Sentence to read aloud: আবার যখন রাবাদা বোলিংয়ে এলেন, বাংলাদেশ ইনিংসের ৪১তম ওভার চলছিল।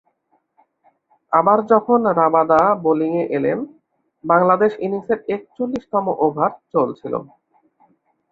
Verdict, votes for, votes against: rejected, 0, 2